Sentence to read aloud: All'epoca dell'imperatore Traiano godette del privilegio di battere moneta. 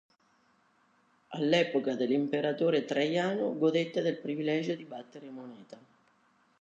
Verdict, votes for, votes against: accepted, 2, 1